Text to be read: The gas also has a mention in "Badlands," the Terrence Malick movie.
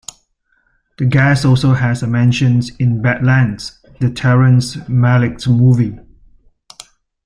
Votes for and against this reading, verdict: 2, 0, accepted